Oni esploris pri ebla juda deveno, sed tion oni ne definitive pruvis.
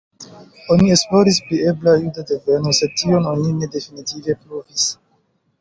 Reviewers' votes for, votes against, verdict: 3, 0, accepted